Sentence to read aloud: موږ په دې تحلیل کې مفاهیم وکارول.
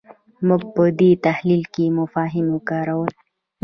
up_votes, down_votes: 2, 0